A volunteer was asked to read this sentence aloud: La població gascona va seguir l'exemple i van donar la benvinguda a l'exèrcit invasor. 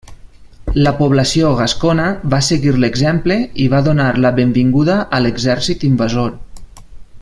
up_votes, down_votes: 2, 0